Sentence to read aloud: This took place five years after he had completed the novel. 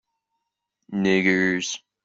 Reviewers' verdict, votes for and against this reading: rejected, 0, 2